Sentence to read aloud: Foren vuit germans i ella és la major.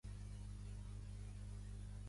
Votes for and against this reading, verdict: 0, 2, rejected